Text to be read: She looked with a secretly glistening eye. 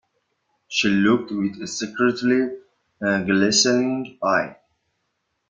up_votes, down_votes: 2, 0